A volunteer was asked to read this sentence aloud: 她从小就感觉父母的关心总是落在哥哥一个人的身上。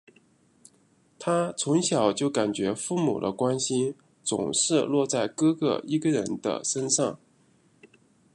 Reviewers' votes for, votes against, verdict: 2, 0, accepted